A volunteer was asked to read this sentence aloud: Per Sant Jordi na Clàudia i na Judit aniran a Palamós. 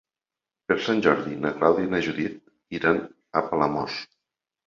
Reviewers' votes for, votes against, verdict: 0, 2, rejected